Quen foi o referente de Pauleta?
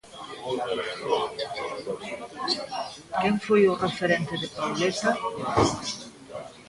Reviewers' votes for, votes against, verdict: 1, 2, rejected